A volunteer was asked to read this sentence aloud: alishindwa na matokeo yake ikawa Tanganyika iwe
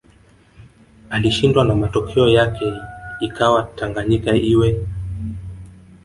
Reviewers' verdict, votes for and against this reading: rejected, 0, 2